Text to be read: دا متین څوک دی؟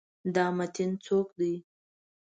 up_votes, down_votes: 2, 0